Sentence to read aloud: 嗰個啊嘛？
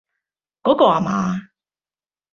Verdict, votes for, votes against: accepted, 2, 0